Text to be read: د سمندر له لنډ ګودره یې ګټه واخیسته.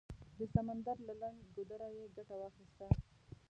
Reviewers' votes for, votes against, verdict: 1, 2, rejected